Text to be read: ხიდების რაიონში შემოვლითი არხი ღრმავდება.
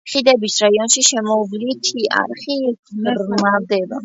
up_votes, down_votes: 2, 0